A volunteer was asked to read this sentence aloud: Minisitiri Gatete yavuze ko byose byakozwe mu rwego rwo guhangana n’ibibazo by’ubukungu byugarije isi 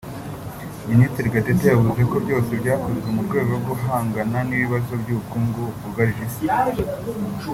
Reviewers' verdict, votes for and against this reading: accepted, 3, 1